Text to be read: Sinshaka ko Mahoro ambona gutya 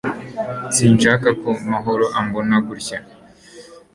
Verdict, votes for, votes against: accepted, 2, 0